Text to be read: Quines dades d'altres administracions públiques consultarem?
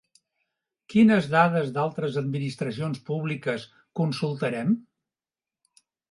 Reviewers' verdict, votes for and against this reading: accepted, 2, 0